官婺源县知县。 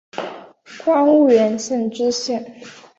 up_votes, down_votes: 4, 1